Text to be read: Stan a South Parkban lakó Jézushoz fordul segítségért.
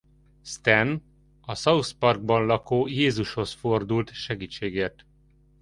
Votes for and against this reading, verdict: 2, 1, accepted